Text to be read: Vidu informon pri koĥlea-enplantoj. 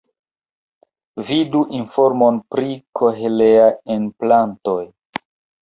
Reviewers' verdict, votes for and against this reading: rejected, 0, 2